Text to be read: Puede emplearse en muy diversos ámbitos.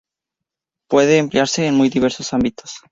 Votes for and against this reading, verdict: 4, 0, accepted